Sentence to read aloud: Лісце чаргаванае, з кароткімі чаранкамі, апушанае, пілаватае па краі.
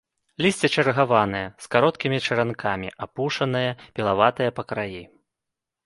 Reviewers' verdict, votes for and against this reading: accepted, 2, 1